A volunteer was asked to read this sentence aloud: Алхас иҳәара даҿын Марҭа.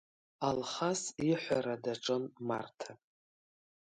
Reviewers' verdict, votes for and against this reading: accepted, 3, 0